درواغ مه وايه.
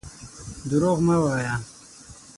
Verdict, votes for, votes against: rejected, 3, 6